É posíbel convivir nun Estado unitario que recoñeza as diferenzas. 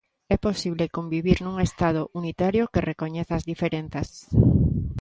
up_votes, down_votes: 0, 2